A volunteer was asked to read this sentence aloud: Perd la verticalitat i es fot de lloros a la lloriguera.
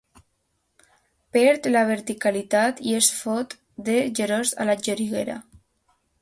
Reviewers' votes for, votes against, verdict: 0, 2, rejected